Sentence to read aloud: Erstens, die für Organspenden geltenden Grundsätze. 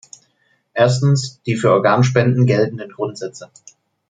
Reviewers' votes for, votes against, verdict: 2, 0, accepted